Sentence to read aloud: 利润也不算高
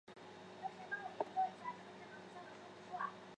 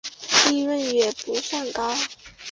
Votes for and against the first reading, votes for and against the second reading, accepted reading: 1, 2, 5, 0, second